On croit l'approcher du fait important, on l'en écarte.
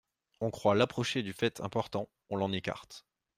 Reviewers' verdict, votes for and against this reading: accepted, 2, 0